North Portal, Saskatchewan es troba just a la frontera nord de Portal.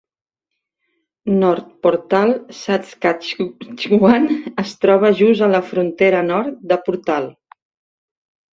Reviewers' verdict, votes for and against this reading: rejected, 0, 2